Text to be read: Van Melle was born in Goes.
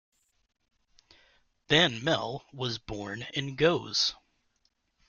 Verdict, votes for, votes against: accepted, 2, 0